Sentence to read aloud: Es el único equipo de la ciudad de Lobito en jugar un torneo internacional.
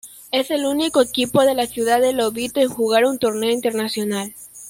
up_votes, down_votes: 2, 0